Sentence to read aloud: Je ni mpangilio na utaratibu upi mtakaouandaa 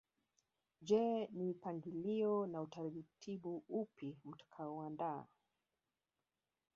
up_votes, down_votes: 1, 2